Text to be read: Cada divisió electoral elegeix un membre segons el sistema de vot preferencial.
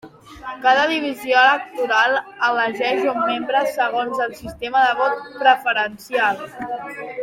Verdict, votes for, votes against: accepted, 3, 1